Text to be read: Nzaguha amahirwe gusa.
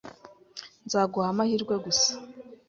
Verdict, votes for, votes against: accepted, 2, 0